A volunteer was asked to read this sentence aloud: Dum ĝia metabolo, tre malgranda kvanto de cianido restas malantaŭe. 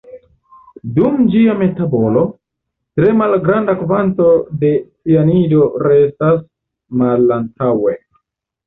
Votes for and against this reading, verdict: 2, 1, accepted